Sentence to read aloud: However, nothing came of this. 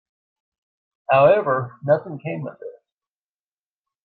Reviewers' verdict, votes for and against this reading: accepted, 2, 0